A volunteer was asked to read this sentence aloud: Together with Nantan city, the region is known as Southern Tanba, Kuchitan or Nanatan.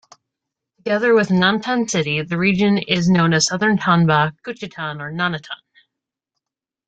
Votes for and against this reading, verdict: 2, 0, accepted